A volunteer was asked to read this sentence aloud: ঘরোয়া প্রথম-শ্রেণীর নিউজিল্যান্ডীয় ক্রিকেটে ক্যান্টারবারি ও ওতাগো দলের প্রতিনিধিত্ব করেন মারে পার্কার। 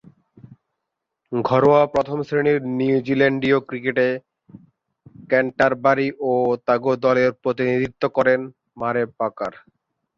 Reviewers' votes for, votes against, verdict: 0, 2, rejected